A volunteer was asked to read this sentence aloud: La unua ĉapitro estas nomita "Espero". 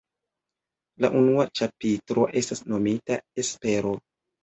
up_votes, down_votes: 2, 0